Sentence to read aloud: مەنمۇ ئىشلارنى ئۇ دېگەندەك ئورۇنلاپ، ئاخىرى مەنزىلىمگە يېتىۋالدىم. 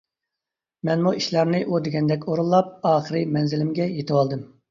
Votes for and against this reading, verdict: 2, 0, accepted